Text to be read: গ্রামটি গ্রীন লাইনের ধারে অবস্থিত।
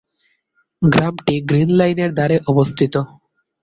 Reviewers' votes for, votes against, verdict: 3, 3, rejected